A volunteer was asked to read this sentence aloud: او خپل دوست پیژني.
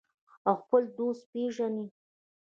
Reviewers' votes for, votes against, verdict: 1, 2, rejected